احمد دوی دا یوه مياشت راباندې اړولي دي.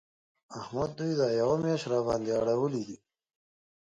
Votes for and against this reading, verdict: 2, 0, accepted